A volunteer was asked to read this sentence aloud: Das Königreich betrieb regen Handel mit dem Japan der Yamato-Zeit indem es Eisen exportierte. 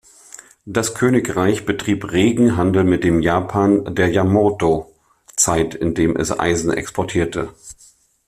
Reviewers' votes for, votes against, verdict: 1, 2, rejected